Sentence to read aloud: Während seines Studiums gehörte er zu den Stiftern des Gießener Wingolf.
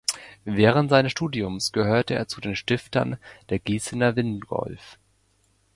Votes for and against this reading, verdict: 0, 2, rejected